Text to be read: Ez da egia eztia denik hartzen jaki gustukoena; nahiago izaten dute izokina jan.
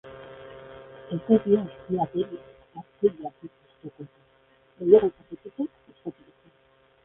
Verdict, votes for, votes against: rejected, 0, 3